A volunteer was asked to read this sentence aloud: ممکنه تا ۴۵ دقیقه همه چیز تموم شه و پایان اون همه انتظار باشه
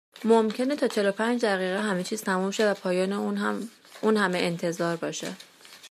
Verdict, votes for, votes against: rejected, 0, 2